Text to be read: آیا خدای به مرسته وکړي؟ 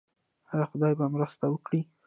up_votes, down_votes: 2, 0